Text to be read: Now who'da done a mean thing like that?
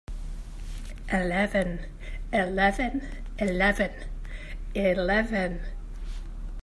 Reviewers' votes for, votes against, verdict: 0, 3, rejected